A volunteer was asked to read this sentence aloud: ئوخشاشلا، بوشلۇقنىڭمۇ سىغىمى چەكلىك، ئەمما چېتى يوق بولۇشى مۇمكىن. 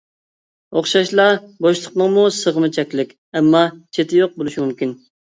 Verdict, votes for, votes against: accepted, 2, 0